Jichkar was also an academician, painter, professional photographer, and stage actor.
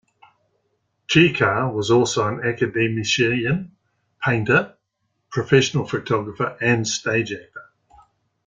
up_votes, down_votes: 2, 1